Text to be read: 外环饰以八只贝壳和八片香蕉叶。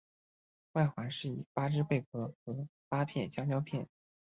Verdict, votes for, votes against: rejected, 0, 2